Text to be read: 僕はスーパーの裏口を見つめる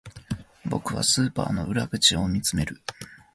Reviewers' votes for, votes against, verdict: 3, 0, accepted